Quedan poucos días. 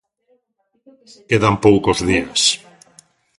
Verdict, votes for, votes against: accepted, 2, 0